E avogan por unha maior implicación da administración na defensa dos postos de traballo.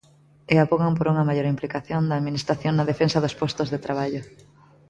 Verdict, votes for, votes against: accepted, 2, 0